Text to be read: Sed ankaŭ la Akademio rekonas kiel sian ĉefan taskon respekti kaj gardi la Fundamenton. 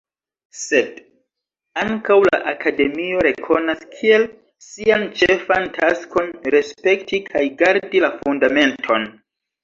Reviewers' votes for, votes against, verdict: 2, 1, accepted